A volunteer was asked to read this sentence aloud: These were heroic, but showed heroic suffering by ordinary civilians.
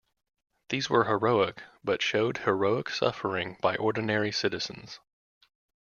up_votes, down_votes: 0, 2